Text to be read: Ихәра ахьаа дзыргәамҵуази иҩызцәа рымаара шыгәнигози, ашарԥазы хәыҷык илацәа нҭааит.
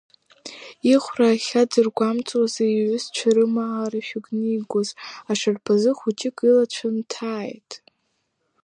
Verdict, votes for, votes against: rejected, 0, 2